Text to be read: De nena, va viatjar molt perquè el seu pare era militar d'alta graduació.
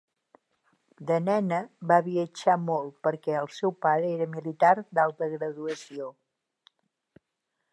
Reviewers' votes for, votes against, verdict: 3, 0, accepted